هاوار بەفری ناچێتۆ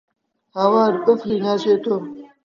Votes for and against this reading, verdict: 0, 3, rejected